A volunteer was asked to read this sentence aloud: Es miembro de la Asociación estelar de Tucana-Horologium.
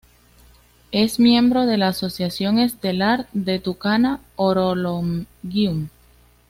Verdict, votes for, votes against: accepted, 2, 0